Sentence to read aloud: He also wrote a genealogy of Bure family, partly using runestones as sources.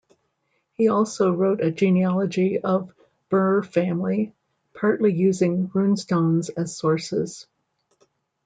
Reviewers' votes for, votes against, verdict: 2, 0, accepted